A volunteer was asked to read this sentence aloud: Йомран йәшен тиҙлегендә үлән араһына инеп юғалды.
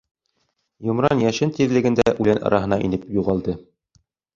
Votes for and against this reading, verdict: 1, 2, rejected